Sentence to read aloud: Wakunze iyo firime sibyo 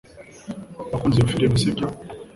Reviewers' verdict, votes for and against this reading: accepted, 2, 0